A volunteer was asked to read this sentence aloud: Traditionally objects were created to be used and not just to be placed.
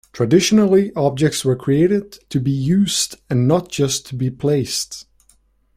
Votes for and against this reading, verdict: 2, 0, accepted